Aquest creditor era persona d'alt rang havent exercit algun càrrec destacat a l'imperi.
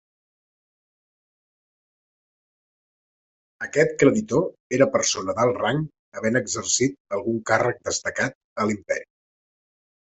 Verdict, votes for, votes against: accepted, 2, 0